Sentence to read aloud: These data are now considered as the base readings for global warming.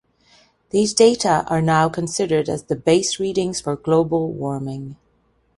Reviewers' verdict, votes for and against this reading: accepted, 2, 0